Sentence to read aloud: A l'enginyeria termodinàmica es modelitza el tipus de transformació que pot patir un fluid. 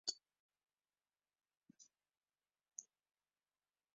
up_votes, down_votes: 1, 2